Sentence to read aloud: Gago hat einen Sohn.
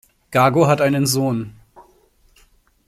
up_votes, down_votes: 2, 0